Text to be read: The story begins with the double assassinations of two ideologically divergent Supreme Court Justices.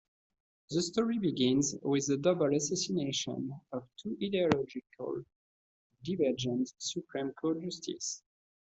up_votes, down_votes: 0, 2